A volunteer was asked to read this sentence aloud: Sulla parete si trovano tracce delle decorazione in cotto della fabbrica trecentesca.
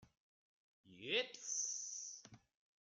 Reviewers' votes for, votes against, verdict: 0, 2, rejected